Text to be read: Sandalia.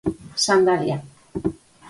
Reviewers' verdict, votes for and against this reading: accepted, 4, 0